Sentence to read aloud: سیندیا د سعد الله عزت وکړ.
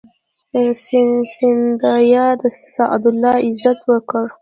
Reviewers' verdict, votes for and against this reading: rejected, 1, 2